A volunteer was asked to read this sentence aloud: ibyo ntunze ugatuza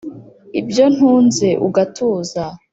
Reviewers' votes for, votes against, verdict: 2, 0, accepted